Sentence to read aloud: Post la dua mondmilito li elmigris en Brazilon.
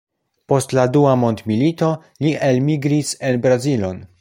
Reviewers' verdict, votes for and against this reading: accepted, 2, 0